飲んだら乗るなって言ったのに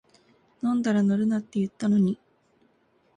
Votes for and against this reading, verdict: 2, 0, accepted